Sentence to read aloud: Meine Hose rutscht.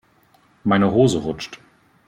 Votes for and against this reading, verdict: 2, 0, accepted